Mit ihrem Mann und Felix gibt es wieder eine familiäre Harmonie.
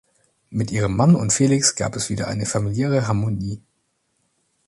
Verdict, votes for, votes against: rejected, 0, 2